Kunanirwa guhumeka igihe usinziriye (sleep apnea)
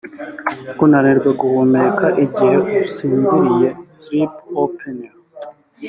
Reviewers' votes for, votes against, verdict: 3, 0, accepted